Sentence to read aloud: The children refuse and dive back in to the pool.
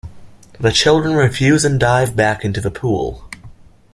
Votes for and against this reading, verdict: 2, 0, accepted